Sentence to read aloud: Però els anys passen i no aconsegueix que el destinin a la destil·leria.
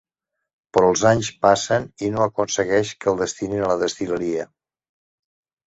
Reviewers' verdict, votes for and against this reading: accepted, 2, 0